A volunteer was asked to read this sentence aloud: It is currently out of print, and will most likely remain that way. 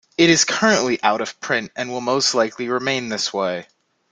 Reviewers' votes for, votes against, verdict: 1, 2, rejected